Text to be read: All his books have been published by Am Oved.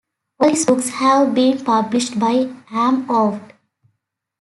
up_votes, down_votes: 1, 2